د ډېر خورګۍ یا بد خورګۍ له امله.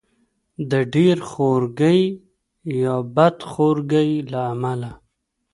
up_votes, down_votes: 1, 2